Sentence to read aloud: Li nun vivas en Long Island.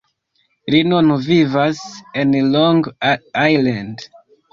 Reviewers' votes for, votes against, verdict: 0, 2, rejected